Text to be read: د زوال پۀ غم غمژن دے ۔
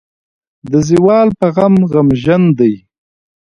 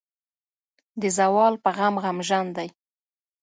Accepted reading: second